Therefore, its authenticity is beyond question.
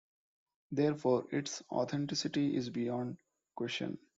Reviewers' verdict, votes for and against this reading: accepted, 2, 0